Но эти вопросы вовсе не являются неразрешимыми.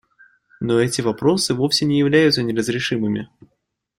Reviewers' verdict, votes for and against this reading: accepted, 2, 0